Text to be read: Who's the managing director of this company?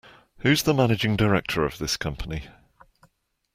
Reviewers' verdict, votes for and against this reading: accepted, 2, 0